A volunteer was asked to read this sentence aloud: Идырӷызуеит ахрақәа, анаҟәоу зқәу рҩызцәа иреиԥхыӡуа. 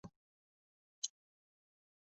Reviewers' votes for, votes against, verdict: 0, 2, rejected